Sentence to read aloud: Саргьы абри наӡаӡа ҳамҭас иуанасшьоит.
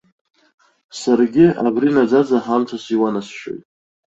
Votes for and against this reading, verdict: 2, 0, accepted